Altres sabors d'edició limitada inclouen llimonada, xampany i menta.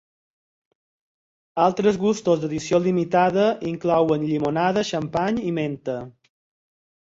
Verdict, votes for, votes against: rejected, 2, 4